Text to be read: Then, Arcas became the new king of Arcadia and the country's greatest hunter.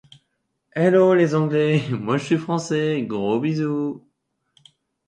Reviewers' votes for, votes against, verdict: 0, 2, rejected